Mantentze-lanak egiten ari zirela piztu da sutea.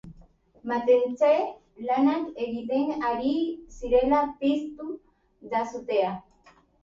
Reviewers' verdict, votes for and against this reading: accepted, 2, 1